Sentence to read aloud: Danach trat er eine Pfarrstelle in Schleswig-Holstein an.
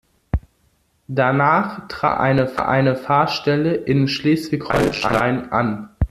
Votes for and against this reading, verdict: 0, 2, rejected